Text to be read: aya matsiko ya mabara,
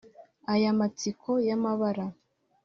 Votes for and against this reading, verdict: 2, 0, accepted